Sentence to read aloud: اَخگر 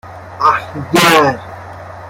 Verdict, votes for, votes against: rejected, 0, 2